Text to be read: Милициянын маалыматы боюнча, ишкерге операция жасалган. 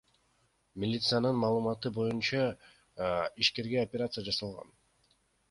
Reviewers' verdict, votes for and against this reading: rejected, 1, 2